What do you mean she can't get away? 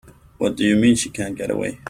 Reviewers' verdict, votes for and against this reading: rejected, 1, 2